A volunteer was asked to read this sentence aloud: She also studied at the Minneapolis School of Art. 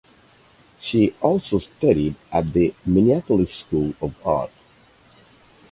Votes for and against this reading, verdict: 2, 2, rejected